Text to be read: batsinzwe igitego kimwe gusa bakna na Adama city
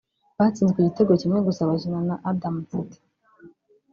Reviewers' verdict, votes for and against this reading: rejected, 1, 2